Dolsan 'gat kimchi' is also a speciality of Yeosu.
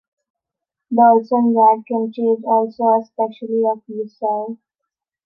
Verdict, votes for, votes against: rejected, 0, 2